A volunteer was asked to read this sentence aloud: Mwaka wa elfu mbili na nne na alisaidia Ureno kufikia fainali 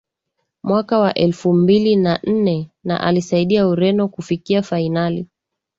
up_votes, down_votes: 2, 0